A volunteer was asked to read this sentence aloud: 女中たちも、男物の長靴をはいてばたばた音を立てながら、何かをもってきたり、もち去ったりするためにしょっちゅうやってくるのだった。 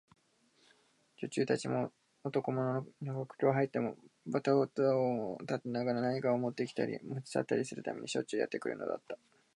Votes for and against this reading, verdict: 2, 2, rejected